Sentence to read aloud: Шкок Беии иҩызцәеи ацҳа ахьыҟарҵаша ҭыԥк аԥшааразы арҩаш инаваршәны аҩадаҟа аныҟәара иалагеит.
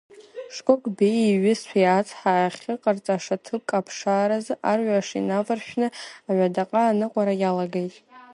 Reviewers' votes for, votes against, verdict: 0, 2, rejected